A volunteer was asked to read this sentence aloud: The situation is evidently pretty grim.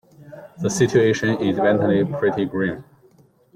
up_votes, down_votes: 0, 2